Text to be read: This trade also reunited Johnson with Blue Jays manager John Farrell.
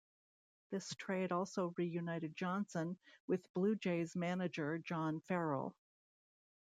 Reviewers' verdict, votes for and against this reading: accepted, 2, 0